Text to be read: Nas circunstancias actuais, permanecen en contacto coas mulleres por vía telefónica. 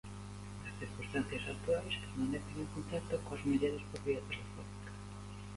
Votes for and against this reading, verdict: 0, 2, rejected